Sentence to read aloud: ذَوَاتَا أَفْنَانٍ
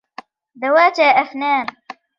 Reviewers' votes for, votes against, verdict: 2, 0, accepted